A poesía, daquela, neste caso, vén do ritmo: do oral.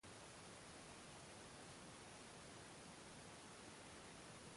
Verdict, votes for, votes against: rejected, 0, 2